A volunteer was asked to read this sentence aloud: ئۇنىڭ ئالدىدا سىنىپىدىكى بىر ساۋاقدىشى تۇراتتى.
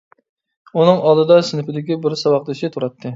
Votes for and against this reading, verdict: 2, 0, accepted